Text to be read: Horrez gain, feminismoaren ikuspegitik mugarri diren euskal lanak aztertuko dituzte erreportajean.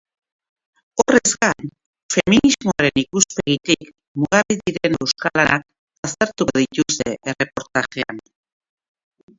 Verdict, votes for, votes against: rejected, 2, 2